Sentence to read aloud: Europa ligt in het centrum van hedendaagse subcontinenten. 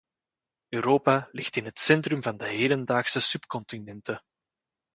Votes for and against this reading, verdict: 0, 2, rejected